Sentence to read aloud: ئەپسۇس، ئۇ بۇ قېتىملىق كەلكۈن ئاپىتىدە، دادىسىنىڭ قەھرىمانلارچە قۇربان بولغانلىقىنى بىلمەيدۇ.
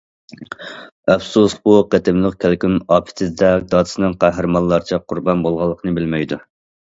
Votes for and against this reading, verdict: 0, 2, rejected